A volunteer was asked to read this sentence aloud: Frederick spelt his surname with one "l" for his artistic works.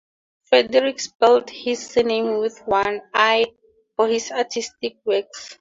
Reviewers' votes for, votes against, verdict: 4, 0, accepted